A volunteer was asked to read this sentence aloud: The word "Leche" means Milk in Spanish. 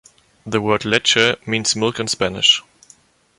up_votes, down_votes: 2, 0